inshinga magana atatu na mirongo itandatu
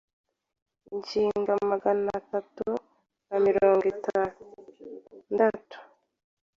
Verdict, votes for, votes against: accepted, 2, 0